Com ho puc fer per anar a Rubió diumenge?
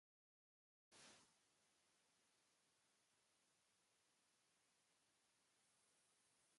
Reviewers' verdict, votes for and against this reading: rejected, 0, 2